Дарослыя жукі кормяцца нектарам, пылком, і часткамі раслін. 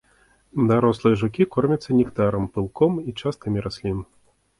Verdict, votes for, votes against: accepted, 2, 0